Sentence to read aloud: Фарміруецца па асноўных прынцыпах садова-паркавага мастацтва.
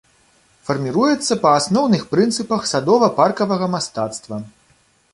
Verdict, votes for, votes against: accepted, 2, 0